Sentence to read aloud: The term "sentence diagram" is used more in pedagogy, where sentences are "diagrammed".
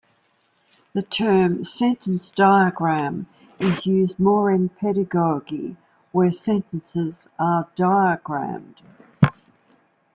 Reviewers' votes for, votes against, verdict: 2, 0, accepted